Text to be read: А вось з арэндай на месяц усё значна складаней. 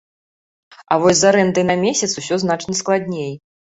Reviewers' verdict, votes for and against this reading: rejected, 1, 2